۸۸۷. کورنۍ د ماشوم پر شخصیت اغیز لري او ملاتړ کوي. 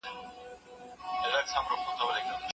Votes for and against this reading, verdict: 0, 2, rejected